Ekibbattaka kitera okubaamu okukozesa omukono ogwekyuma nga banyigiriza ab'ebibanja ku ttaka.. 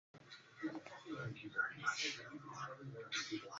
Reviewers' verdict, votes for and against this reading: rejected, 0, 2